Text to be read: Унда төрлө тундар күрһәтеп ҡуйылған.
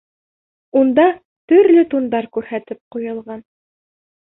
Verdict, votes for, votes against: rejected, 0, 2